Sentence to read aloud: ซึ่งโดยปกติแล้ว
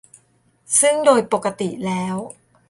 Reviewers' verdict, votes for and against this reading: accepted, 2, 0